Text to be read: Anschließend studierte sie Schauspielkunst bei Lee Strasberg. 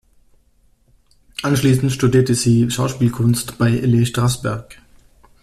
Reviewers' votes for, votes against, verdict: 2, 0, accepted